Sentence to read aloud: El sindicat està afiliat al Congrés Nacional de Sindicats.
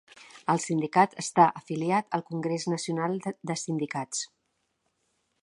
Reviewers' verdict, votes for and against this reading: rejected, 1, 2